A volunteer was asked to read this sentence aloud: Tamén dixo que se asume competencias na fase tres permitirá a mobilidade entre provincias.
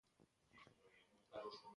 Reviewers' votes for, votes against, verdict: 0, 2, rejected